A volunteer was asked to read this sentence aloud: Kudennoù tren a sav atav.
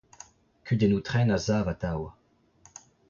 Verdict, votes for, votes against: rejected, 0, 2